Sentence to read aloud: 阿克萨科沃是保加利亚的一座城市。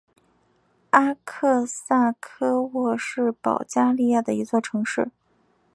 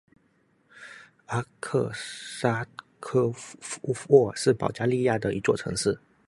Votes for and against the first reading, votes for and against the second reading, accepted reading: 4, 1, 0, 2, first